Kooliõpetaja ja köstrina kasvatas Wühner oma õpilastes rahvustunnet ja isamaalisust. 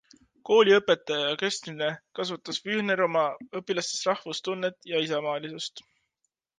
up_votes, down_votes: 2, 0